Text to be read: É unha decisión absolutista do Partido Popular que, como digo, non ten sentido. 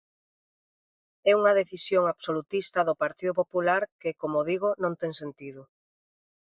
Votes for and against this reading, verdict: 2, 0, accepted